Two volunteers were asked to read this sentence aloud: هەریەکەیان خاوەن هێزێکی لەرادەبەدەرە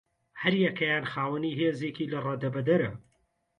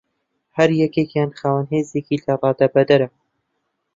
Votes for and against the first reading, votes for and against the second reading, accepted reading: 0, 2, 2, 0, second